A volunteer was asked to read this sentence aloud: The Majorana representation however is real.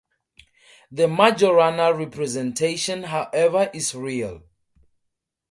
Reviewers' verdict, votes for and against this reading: accepted, 2, 0